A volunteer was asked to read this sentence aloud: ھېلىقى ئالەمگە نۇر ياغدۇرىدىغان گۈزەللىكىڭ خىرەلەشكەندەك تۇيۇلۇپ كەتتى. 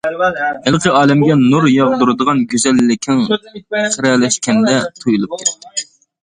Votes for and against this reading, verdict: 0, 2, rejected